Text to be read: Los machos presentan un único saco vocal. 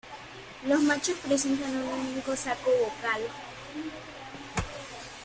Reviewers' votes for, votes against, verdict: 2, 1, accepted